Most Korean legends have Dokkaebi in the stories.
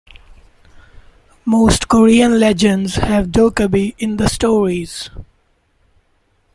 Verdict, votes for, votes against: accepted, 2, 0